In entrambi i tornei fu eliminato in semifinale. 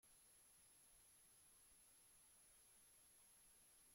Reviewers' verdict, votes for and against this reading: rejected, 0, 2